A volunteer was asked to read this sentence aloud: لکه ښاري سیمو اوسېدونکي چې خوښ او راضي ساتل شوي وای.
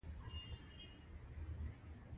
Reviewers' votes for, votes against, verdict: 1, 2, rejected